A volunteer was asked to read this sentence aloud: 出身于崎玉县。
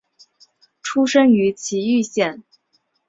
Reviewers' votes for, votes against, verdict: 2, 0, accepted